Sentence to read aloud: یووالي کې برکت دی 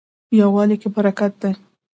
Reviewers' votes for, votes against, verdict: 2, 0, accepted